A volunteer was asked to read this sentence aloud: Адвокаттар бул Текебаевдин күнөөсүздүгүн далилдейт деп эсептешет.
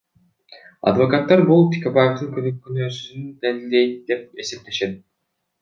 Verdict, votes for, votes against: accepted, 2, 0